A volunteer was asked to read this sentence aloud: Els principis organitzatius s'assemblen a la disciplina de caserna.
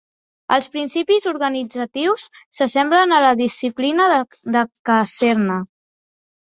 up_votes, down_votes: 1, 2